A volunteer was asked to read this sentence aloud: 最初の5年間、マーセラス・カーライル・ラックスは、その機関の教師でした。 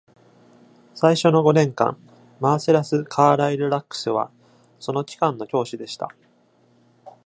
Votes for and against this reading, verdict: 0, 2, rejected